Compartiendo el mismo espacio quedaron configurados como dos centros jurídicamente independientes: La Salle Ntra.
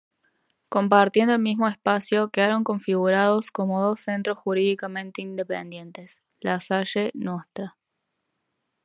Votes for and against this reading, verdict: 2, 0, accepted